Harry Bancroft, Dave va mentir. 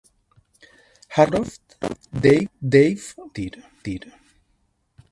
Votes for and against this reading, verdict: 0, 2, rejected